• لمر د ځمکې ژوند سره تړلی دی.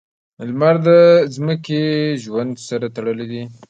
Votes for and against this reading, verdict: 2, 1, accepted